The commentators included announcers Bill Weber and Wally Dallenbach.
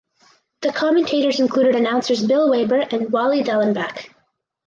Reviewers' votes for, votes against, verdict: 2, 0, accepted